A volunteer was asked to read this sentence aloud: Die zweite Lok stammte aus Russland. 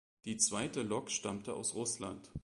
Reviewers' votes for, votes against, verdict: 2, 0, accepted